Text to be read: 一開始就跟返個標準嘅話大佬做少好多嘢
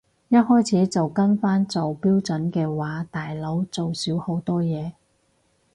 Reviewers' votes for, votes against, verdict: 0, 4, rejected